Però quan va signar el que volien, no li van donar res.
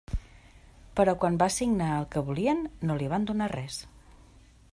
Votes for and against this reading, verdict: 3, 1, accepted